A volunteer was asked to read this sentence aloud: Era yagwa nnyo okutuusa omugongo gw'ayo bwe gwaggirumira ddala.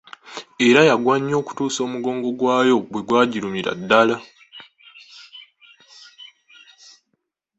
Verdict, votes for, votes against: accepted, 2, 0